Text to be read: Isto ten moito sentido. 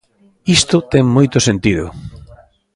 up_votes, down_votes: 2, 0